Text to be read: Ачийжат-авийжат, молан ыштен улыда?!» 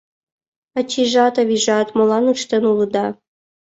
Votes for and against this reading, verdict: 2, 0, accepted